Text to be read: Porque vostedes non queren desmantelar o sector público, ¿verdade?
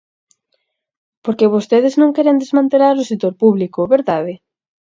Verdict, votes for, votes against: accepted, 4, 0